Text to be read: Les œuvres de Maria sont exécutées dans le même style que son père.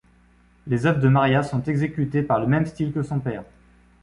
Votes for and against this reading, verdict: 0, 2, rejected